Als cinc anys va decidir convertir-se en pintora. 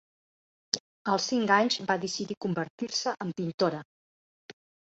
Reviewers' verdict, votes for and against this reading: accepted, 2, 0